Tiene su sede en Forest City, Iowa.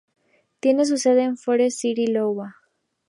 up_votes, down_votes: 2, 0